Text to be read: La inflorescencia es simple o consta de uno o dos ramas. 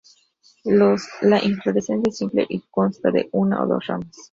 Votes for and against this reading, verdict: 0, 2, rejected